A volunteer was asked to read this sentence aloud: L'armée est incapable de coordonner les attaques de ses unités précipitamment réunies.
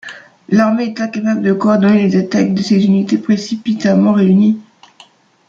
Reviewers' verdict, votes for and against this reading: rejected, 1, 2